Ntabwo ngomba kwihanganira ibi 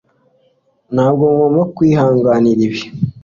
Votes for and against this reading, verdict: 2, 0, accepted